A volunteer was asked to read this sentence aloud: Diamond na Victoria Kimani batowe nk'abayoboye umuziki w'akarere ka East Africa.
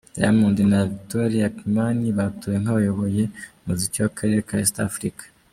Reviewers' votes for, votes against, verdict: 2, 0, accepted